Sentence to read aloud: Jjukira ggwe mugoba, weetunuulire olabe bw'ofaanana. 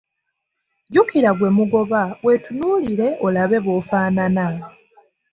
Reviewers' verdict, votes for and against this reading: accepted, 2, 0